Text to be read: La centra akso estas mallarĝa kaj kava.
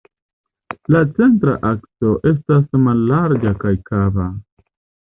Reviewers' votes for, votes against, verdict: 2, 0, accepted